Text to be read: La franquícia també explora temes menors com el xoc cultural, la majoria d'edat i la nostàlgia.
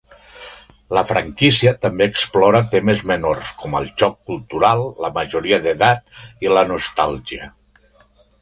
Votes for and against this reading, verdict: 2, 0, accepted